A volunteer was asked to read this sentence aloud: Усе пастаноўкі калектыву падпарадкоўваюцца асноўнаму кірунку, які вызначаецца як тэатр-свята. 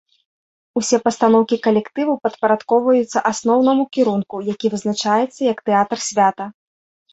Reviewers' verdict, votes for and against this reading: accepted, 2, 0